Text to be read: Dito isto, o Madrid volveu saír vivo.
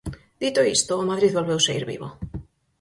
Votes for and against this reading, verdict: 4, 0, accepted